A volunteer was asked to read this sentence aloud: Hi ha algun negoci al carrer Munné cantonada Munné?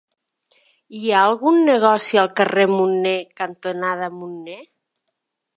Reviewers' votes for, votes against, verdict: 2, 0, accepted